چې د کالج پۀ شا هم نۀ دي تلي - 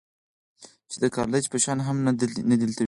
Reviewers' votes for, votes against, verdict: 2, 4, rejected